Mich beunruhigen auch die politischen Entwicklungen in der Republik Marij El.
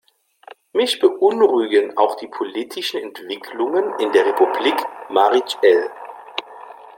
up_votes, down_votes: 2, 0